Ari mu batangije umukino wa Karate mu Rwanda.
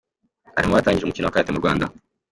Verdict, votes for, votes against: accepted, 2, 1